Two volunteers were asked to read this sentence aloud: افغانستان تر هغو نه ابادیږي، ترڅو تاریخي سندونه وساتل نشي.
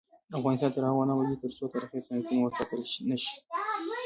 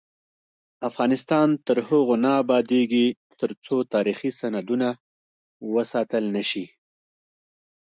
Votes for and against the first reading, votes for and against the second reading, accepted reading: 1, 2, 2, 0, second